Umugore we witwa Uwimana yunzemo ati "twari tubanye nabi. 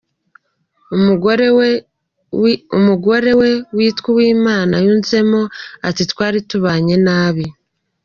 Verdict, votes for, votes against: rejected, 1, 2